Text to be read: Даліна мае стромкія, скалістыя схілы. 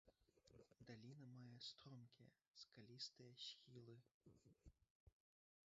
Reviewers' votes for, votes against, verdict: 1, 2, rejected